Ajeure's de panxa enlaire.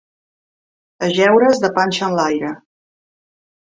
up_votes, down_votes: 2, 0